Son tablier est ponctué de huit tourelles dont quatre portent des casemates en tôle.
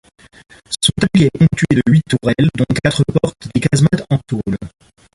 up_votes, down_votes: 1, 2